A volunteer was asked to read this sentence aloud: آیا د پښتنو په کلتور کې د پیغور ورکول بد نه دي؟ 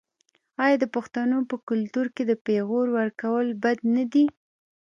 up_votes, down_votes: 1, 2